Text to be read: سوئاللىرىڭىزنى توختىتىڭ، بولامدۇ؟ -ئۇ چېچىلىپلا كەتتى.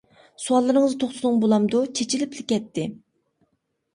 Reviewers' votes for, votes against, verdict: 0, 2, rejected